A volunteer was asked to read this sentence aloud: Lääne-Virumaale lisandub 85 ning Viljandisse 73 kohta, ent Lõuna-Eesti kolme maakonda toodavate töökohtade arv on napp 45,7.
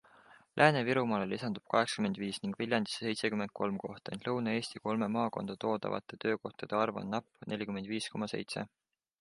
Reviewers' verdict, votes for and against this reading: rejected, 0, 2